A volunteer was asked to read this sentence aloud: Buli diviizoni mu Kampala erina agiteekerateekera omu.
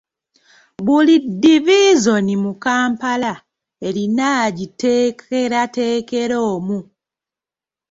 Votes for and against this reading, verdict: 2, 0, accepted